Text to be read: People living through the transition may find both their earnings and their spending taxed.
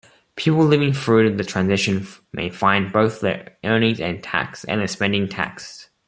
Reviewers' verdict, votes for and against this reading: rejected, 0, 2